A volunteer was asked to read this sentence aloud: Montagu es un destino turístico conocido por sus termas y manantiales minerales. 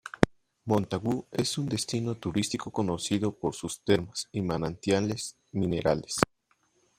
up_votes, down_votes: 2, 0